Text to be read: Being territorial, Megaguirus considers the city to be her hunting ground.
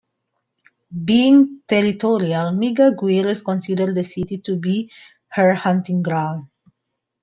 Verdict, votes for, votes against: accepted, 2, 1